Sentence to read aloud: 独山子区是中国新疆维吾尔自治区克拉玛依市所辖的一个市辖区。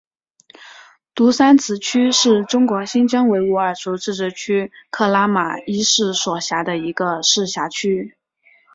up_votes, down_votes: 2, 1